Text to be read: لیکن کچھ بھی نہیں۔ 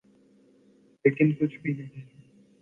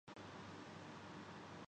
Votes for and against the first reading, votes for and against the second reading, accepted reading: 2, 0, 0, 2, first